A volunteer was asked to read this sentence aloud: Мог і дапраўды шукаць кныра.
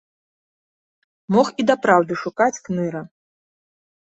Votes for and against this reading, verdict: 2, 0, accepted